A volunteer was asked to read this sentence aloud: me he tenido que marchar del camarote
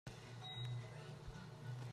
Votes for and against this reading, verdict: 0, 3, rejected